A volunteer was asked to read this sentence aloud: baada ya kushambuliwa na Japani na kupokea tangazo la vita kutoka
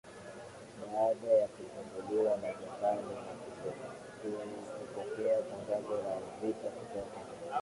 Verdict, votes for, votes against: rejected, 0, 2